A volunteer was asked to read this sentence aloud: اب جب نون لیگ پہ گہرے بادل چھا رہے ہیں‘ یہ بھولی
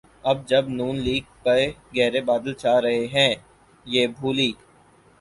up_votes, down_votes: 6, 0